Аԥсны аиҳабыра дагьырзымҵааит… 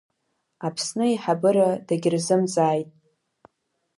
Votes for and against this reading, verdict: 2, 1, accepted